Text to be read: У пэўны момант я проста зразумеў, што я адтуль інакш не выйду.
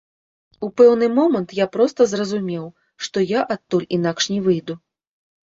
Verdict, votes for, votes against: rejected, 0, 2